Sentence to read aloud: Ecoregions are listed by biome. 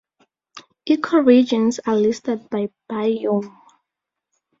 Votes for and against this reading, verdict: 2, 0, accepted